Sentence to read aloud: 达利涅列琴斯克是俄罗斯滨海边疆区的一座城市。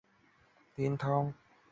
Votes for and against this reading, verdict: 0, 2, rejected